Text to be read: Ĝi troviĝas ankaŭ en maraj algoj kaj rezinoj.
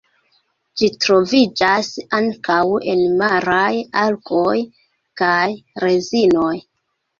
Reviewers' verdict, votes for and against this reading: accepted, 2, 1